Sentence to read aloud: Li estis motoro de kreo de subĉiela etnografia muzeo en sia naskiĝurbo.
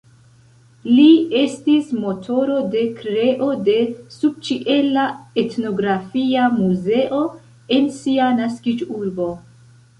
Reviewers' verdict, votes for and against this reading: accepted, 2, 0